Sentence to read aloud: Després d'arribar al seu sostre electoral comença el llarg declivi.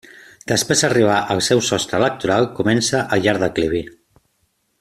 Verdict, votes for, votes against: accepted, 2, 1